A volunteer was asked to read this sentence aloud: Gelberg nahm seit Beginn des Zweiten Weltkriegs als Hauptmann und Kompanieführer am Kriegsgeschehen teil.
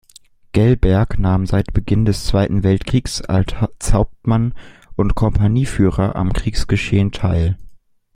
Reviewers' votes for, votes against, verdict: 0, 2, rejected